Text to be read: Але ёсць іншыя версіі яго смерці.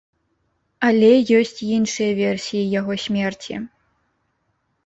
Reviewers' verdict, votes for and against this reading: accepted, 3, 0